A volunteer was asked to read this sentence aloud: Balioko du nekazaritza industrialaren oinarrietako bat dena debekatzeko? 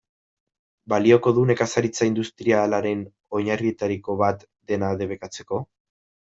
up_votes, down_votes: 1, 2